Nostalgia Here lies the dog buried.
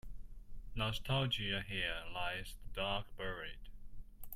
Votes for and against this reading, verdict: 2, 0, accepted